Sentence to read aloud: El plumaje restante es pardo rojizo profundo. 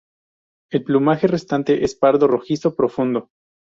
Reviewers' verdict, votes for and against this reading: rejected, 0, 2